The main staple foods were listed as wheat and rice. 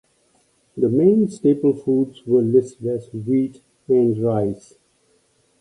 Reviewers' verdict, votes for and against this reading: accepted, 2, 0